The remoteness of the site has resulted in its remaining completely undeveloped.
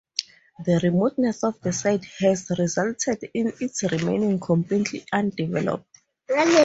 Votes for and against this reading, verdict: 0, 2, rejected